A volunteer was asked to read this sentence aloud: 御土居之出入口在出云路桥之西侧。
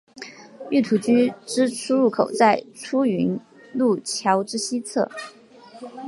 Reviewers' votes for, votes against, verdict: 5, 2, accepted